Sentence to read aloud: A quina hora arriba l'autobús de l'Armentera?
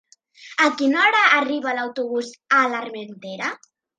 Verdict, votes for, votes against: rejected, 0, 2